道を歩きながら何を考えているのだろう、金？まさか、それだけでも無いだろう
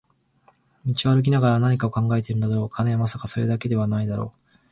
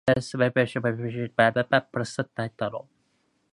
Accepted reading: second